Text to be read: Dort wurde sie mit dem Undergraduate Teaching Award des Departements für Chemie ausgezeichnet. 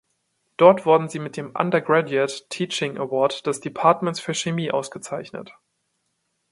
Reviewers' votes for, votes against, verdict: 1, 2, rejected